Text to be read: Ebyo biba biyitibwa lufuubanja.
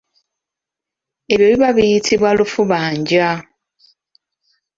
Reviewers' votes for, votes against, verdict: 2, 0, accepted